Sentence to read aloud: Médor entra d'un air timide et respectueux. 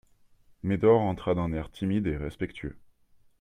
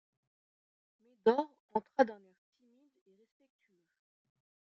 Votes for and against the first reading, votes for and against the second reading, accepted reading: 2, 0, 0, 3, first